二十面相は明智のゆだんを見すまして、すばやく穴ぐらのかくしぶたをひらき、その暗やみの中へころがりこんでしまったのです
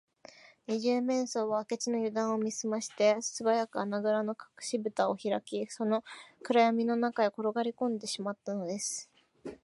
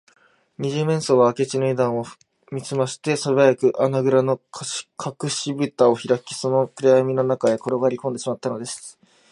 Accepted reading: first